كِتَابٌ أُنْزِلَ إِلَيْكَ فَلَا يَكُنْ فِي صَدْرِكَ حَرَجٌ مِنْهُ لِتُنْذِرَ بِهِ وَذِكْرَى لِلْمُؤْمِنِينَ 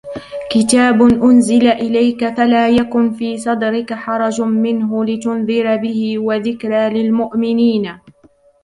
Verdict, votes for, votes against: rejected, 0, 2